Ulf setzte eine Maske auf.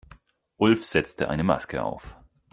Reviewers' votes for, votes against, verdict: 4, 0, accepted